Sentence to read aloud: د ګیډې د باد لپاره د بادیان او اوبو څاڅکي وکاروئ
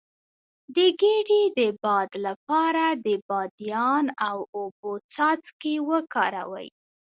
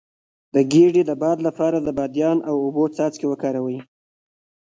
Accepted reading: first